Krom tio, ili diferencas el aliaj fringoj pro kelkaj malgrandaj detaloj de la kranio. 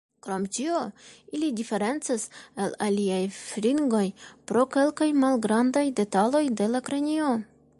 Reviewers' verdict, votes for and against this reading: accepted, 2, 1